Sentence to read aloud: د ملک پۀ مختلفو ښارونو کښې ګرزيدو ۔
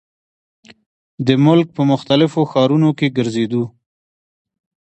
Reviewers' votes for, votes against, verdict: 2, 1, accepted